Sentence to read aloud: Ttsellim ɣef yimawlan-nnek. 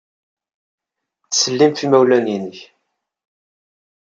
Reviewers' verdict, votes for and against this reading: accepted, 2, 0